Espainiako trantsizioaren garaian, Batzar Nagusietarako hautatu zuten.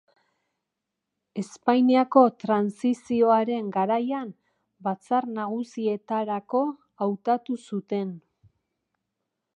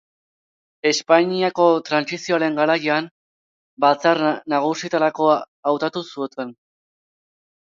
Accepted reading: first